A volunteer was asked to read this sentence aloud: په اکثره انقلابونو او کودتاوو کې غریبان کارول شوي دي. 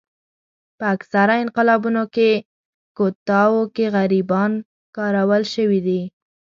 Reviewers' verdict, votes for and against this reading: rejected, 1, 2